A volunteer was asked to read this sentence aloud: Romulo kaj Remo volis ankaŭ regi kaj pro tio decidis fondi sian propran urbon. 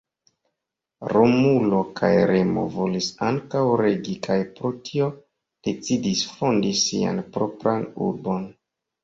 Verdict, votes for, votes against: accepted, 2, 0